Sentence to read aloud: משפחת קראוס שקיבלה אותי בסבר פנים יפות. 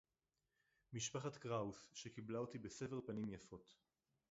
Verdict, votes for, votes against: rejected, 0, 2